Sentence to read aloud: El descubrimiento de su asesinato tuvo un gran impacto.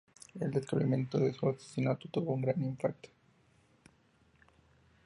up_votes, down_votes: 0, 2